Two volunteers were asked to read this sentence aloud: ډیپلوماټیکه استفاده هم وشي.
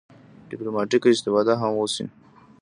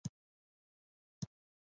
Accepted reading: first